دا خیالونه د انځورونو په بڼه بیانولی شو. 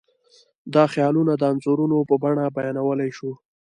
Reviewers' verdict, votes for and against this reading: accepted, 2, 0